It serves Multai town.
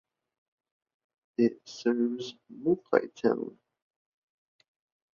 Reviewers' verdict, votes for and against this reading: rejected, 1, 2